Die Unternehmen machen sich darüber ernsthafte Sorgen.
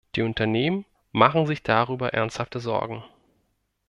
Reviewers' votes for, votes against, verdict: 2, 0, accepted